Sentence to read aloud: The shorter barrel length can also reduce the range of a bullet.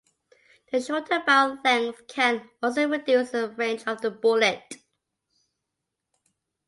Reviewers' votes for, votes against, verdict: 2, 0, accepted